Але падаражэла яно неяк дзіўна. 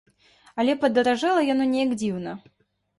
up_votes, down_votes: 2, 0